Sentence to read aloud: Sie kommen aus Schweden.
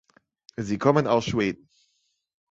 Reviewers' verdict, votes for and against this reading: accepted, 2, 0